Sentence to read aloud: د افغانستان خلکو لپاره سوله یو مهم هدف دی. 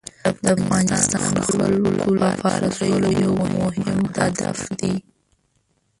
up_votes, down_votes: 1, 2